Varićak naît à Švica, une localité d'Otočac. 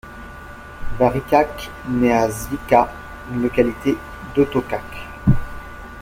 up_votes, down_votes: 0, 2